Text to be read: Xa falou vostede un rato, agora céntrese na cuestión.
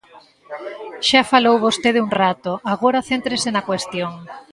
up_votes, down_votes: 2, 0